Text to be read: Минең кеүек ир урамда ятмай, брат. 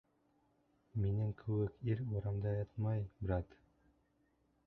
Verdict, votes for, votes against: rejected, 1, 2